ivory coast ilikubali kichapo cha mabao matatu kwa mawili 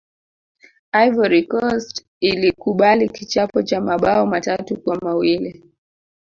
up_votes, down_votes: 2, 0